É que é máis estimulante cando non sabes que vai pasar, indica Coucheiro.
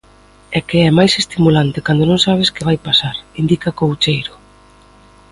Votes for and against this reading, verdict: 2, 0, accepted